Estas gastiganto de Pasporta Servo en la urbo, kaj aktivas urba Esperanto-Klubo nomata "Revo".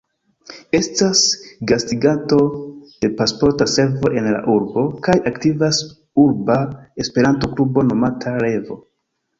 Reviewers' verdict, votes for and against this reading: rejected, 1, 2